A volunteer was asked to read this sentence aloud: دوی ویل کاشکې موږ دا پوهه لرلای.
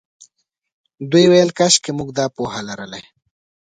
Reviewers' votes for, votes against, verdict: 2, 0, accepted